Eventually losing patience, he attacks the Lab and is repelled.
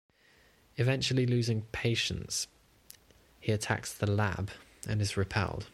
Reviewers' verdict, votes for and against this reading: accepted, 2, 0